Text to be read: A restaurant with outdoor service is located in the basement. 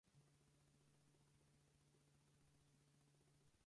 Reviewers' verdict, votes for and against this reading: rejected, 0, 2